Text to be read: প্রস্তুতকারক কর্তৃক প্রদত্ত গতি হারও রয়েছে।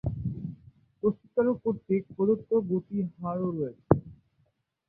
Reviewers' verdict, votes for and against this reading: rejected, 0, 2